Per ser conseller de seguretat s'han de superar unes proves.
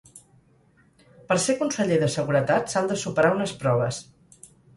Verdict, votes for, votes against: accepted, 4, 0